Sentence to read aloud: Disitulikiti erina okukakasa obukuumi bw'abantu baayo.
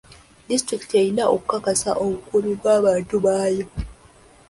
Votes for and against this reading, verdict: 0, 2, rejected